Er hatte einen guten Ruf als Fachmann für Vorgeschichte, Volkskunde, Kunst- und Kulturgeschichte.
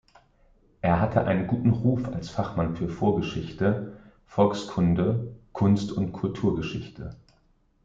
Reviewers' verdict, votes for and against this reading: accepted, 2, 0